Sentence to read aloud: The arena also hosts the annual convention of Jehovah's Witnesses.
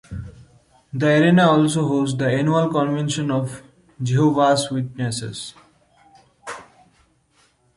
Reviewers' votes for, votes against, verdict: 1, 2, rejected